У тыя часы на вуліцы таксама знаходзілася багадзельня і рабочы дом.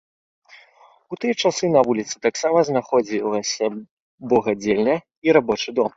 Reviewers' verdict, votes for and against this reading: rejected, 0, 2